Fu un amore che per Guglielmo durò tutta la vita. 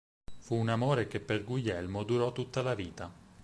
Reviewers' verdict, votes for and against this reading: accepted, 6, 0